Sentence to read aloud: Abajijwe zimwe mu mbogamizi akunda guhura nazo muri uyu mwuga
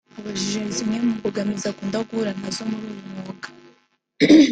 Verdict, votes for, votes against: rejected, 0, 2